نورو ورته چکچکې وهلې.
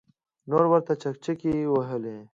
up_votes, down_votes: 2, 0